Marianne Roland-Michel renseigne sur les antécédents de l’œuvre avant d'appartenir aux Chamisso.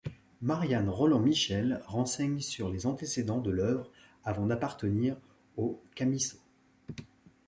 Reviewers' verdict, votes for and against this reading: rejected, 0, 2